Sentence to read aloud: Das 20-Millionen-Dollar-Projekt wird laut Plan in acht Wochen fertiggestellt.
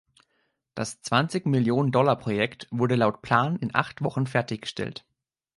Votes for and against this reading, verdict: 0, 2, rejected